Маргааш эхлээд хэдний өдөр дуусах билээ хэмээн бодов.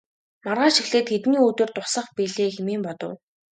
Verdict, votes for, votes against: accepted, 3, 1